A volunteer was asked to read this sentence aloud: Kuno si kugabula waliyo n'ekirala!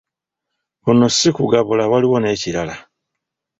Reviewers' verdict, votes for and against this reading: accepted, 2, 0